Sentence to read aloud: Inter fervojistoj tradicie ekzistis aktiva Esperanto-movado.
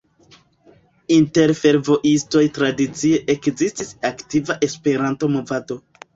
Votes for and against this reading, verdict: 1, 2, rejected